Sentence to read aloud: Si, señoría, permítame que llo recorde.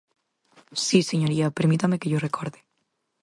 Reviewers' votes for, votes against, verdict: 4, 0, accepted